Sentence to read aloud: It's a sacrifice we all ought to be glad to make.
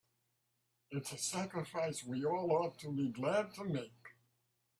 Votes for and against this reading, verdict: 2, 0, accepted